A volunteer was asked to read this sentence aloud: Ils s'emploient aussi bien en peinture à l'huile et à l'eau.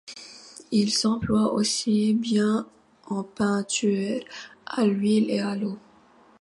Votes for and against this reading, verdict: 2, 0, accepted